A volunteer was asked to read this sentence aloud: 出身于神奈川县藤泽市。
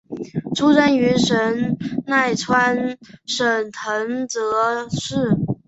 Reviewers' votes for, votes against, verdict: 3, 0, accepted